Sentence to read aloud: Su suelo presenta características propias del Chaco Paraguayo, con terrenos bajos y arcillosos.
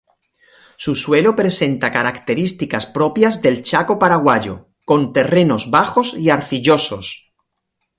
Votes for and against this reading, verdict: 0, 2, rejected